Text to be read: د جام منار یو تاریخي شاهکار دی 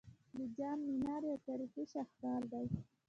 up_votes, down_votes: 1, 2